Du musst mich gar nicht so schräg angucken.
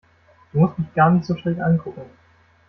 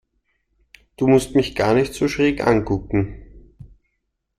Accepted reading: second